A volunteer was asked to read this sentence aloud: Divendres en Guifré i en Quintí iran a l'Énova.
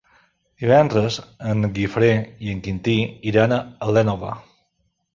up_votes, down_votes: 0, 2